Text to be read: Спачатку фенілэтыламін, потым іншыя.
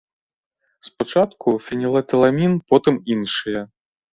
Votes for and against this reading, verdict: 2, 0, accepted